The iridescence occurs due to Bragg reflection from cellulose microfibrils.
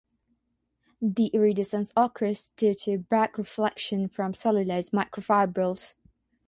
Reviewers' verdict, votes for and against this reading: rejected, 3, 3